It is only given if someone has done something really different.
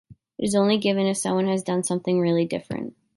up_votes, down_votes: 3, 0